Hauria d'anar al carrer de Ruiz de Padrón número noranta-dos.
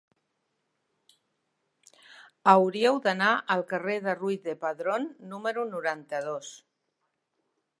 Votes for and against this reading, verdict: 1, 2, rejected